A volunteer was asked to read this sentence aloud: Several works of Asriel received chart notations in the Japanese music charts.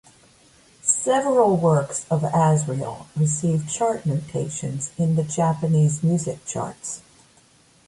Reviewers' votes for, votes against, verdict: 2, 0, accepted